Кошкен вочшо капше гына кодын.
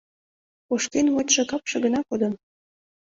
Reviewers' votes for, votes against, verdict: 2, 0, accepted